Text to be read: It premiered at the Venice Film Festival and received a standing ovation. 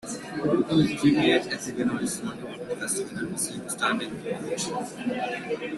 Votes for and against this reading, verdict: 0, 2, rejected